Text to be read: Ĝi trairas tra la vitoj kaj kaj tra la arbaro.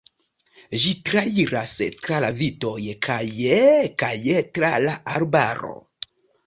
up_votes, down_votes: 1, 2